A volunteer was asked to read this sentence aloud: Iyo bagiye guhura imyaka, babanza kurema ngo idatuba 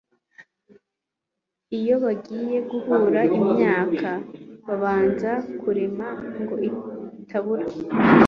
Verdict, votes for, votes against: rejected, 1, 2